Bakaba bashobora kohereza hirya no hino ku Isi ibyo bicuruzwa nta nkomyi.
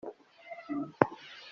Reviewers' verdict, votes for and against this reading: rejected, 0, 2